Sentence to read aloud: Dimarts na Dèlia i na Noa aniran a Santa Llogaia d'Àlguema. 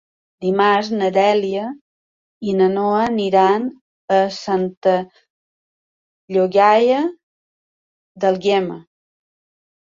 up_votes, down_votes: 2, 1